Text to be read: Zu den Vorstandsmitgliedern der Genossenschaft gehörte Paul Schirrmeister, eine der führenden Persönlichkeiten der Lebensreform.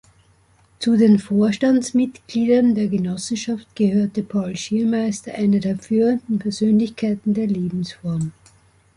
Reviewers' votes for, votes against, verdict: 0, 2, rejected